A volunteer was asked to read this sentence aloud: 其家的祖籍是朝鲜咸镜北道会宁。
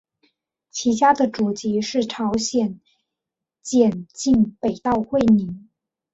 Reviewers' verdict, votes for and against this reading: rejected, 1, 2